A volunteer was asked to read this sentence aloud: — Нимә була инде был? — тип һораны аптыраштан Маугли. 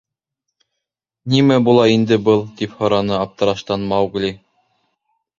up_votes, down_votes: 2, 0